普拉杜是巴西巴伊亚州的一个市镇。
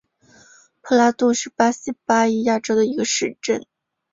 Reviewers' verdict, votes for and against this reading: accepted, 2, 0